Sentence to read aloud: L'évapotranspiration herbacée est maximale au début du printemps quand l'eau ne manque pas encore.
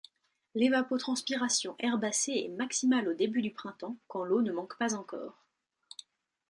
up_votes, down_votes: 2, 0